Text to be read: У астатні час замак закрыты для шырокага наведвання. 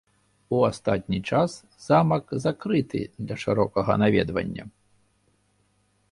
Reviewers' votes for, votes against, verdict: 2, 0, accepted